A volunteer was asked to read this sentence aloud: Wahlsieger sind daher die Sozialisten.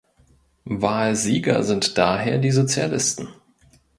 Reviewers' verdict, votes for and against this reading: accepted, 3, 0